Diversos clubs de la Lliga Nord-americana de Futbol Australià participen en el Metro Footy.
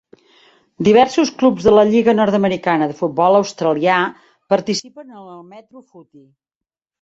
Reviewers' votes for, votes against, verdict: 0, 2, rejected